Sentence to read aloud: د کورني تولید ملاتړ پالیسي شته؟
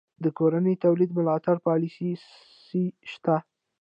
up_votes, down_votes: 2, 0